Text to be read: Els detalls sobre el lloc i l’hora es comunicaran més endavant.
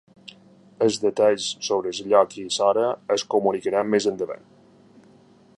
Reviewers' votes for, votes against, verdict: 1, 2, rejected